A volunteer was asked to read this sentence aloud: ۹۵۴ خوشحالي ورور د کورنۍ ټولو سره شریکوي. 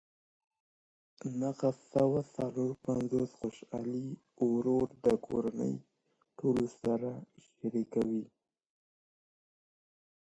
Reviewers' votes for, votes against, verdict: 0, 2, rejected